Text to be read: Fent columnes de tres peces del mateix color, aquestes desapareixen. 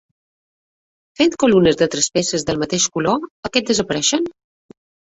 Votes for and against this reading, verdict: 1, 2, rejected